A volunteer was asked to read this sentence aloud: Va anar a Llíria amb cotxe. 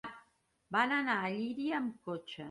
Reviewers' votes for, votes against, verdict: 1, 2, rejected